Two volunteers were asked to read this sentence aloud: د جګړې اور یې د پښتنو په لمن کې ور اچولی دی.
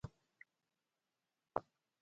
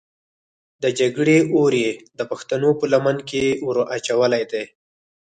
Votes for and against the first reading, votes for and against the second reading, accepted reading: 0, 2, 4, 0, second